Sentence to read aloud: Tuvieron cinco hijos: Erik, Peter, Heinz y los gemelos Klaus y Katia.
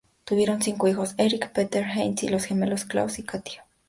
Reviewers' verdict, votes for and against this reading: accepted, 2, 0